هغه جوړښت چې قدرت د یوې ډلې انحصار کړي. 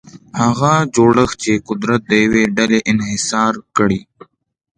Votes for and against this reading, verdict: 2, 0, accepted